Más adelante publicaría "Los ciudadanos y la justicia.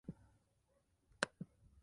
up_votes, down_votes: 0, 2